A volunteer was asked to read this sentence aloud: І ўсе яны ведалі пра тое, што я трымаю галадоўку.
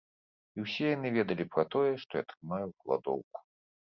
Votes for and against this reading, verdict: 1, 2, rejected